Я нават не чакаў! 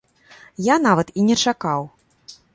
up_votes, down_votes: 1, 2